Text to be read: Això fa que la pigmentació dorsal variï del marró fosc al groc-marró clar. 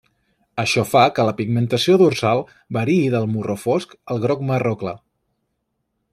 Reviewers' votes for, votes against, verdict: 2, 0, accepted